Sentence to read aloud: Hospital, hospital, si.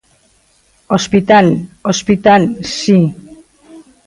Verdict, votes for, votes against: accepted, 2, 0